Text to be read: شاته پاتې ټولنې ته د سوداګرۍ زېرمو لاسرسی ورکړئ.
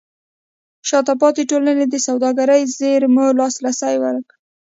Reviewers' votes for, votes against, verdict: 1, 2, rejected